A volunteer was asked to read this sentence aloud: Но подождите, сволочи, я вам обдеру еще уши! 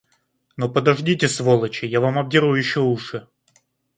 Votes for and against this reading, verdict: 2, 0, accepted